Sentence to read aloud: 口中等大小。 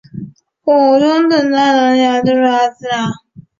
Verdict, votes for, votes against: rejected, 0, 2